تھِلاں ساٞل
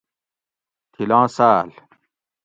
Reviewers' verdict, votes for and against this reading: accepted, 2, 0